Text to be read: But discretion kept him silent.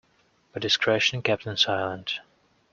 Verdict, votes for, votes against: accepted, 2, 0